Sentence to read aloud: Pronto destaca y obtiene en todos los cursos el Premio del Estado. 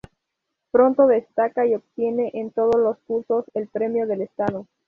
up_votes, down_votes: 0, 2